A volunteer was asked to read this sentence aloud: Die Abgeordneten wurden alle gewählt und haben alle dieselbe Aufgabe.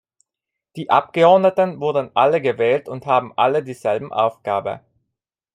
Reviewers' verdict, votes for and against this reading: rejected, 0, 2